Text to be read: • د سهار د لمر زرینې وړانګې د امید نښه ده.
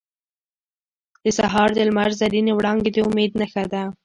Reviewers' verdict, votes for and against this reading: accepted, 2, 1